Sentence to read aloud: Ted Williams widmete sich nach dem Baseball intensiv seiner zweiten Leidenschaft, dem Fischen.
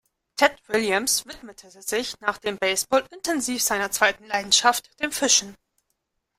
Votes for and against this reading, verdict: 0, 2, rejected